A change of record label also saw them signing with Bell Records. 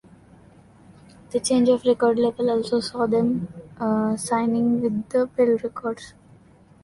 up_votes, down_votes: 0, 2